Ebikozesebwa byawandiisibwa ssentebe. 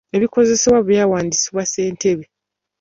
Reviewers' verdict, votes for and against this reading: accepted, 2, 0